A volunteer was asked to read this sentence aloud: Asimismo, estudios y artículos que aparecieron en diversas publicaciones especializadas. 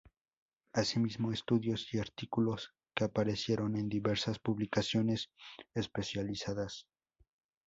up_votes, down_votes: 4, 0